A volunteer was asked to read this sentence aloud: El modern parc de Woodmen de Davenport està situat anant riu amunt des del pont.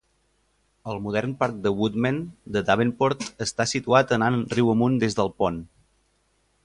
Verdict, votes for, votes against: accepted, 2, 0